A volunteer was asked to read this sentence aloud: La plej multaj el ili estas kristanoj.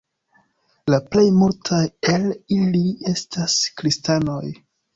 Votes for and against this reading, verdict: 2, 0, accepted